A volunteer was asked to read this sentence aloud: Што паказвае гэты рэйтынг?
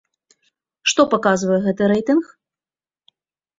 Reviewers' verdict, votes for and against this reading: accepted, 2, 0